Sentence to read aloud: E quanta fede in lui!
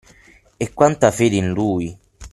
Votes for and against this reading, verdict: 6, 0, accepted